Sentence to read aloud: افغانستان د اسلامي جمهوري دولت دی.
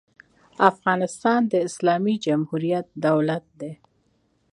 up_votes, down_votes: 1, 2